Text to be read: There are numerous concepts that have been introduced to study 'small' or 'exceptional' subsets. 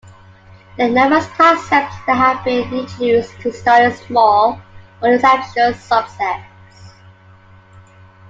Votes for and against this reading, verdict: 0, 2, rejected